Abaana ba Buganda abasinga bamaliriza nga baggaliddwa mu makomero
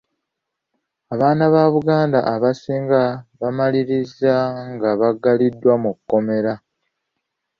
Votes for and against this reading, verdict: 1, 2, rejected